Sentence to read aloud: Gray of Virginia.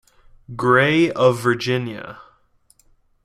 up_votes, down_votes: 2, 0